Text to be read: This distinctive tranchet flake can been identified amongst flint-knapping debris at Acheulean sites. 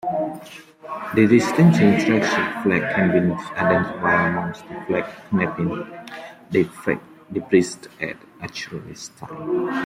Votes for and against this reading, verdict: 0, 2, rejected